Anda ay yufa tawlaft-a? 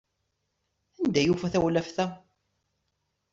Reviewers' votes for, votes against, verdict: 2, 0, accepted